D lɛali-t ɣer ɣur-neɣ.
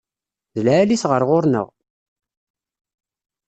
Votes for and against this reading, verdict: 2, 0, accepted